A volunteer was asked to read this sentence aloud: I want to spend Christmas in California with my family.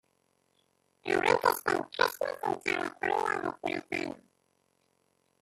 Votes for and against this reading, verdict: 1, 2, rejected